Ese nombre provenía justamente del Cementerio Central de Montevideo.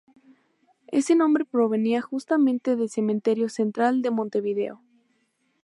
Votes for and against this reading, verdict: 2, 2, rejected